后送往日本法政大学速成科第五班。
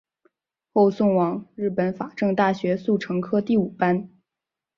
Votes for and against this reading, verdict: 2, 0, accepted